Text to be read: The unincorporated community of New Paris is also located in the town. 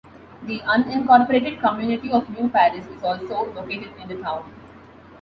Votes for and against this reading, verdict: 2, 0, accepted